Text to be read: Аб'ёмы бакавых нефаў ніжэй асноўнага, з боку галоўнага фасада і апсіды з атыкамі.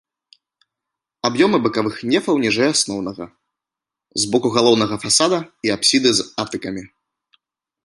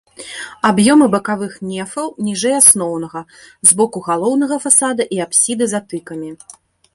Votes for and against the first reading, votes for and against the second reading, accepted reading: 3, 0, 0, 2, first